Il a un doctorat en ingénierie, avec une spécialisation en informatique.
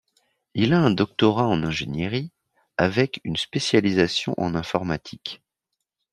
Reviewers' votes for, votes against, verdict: 2, 0, accepted